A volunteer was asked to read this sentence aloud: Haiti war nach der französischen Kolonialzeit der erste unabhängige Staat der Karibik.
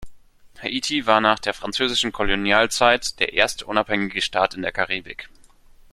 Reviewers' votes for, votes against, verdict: 1, 2, rejected